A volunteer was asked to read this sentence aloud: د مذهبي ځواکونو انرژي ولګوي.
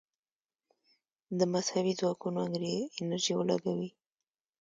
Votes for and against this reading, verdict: 1, 2, rejected